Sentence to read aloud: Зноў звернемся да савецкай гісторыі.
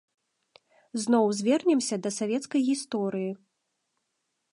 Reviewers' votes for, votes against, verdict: 2, 0, accepted